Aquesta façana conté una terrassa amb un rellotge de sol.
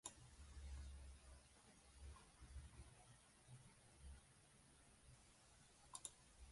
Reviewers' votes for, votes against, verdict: 0, 4, rejected